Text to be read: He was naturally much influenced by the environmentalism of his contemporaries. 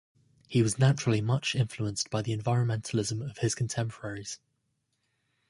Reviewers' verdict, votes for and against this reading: accepted, 2, 0